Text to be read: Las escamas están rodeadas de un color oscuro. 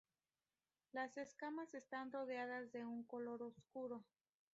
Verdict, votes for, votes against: rejected, 0, 2